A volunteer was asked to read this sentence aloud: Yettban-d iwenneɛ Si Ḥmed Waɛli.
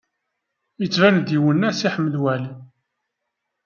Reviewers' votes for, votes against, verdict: 2, 0, accepted